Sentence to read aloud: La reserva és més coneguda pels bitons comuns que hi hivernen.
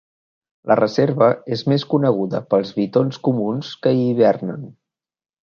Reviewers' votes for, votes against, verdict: 2, 0, accepted